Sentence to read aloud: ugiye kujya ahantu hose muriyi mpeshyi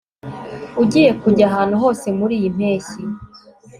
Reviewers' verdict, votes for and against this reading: accepted, 2, 0